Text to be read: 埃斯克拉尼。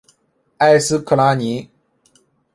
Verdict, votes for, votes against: accepted, 3, 0